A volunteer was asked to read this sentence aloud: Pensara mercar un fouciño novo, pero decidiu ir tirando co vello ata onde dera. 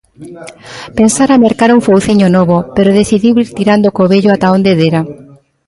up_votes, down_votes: 2, 0